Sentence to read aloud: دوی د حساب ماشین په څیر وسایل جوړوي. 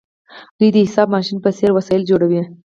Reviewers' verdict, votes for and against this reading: accepted, 4, 0